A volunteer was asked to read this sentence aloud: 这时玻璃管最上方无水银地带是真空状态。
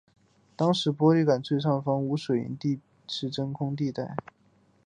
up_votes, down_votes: 2, 1